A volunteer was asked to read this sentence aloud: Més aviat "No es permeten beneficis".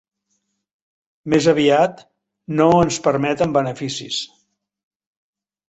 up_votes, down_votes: 1, 2